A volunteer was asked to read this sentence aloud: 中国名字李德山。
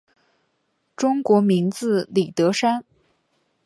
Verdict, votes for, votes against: accepted, 3, 0